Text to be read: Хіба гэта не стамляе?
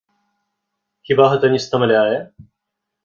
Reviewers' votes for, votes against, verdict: 2, 0, accepted